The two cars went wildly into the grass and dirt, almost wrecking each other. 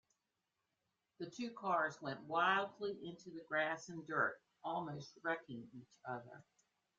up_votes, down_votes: 2, 0